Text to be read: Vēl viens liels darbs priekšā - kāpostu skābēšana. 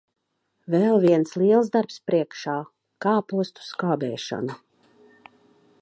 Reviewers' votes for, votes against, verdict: 2, 0, accepted